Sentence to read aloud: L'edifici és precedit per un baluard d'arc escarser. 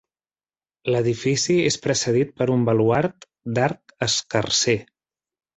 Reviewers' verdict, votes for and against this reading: accepted, 2, 0